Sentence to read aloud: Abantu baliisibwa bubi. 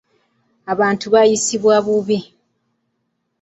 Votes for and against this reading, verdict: 0, 2, rejected